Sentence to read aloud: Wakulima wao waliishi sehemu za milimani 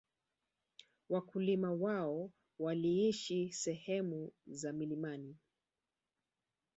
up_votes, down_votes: 0, 2